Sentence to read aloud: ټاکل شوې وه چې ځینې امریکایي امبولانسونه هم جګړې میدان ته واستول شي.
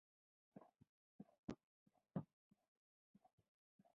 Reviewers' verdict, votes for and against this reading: rejected, 0, 2